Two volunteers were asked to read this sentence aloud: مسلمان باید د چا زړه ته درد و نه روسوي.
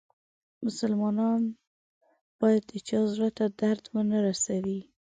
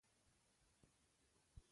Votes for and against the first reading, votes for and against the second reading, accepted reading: 2, 0, 1, 2, first